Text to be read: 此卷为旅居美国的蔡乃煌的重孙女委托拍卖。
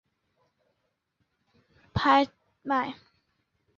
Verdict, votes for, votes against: rejected, 0, 3